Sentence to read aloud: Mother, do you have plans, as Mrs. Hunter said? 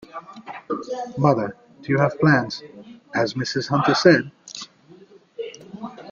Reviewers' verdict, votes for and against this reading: accepted, 2, 0